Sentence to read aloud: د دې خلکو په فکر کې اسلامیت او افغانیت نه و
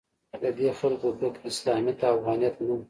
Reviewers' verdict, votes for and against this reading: rejected, 1, 2